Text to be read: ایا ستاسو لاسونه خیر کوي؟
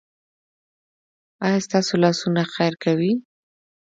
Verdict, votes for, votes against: accepted, 2, 1